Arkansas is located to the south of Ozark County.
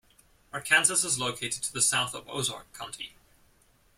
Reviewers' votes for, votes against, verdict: 0, 2, rejected